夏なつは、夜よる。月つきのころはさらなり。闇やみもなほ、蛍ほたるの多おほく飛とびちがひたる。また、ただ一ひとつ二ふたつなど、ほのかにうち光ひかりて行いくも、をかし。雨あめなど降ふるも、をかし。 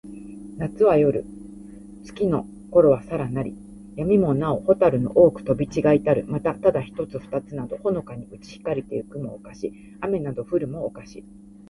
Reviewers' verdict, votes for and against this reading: accepted, 2, 0